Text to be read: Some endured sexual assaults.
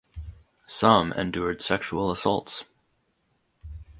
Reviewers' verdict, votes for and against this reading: accepted, 4, 0